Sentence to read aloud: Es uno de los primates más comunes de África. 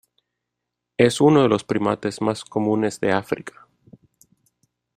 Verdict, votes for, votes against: accepted, 2, 0